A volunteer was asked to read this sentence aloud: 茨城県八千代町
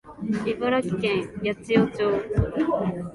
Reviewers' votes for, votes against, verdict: 2, 0, accepted